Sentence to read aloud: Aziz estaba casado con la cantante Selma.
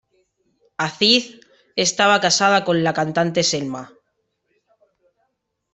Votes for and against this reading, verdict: 3, 0, accepted